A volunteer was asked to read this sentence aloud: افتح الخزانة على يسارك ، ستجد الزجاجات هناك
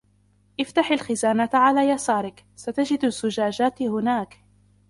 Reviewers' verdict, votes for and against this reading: rejected, 1, 2